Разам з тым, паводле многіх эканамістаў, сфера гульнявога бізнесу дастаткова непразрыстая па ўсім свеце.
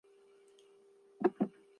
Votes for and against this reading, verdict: 0, 2, rejected